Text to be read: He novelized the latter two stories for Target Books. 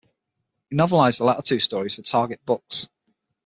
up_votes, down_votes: 3, 6